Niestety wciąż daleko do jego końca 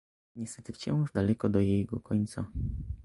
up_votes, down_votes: 1, 2